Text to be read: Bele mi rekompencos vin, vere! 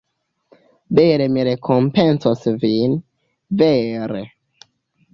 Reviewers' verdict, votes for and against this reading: rejected, 0, 2